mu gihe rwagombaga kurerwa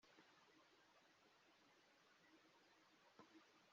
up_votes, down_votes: 0, 2